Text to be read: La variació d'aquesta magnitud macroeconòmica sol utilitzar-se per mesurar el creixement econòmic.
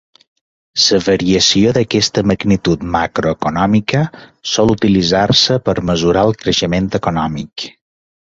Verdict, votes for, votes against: rejected, 0, 2